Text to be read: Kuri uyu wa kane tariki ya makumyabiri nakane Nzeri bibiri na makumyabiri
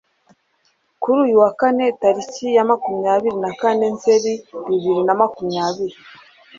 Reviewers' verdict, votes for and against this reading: accepted, 2, 0